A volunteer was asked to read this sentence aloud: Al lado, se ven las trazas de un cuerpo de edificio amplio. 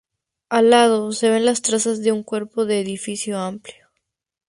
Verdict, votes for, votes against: accepted, 2, 0